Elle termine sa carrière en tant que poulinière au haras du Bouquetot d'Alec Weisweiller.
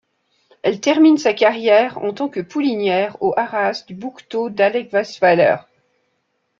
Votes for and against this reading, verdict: 0, 2, rejected